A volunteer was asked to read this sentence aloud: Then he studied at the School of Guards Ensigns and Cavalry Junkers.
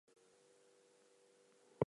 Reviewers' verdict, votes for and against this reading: rejected, 0, 2